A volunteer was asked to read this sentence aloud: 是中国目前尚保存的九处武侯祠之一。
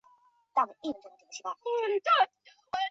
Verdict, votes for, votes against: rejected, 1, 3